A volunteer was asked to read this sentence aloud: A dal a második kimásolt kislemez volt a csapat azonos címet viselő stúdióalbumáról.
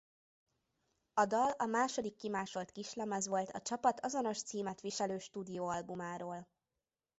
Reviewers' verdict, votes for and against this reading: accepted, 2, 0